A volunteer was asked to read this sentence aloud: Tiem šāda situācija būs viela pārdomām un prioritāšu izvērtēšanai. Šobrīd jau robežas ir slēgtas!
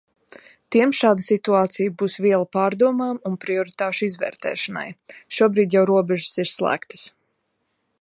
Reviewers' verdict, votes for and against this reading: accepted, 2, 1